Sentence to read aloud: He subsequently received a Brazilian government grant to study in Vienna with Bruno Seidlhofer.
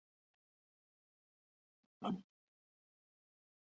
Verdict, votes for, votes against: rejected, 0, 3